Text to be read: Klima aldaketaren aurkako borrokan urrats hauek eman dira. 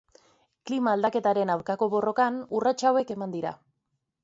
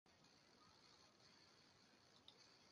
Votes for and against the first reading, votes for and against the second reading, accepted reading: 2, 0, 0, 2, first